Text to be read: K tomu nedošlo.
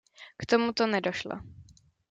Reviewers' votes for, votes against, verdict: 0, 2, rejected